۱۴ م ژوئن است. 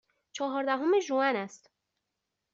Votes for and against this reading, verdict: 0, 2, rejected